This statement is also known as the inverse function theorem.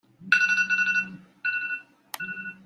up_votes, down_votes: 0, 2